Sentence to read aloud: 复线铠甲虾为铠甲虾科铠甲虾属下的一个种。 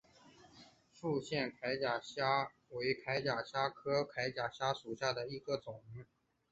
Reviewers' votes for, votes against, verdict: 2, 0, accepted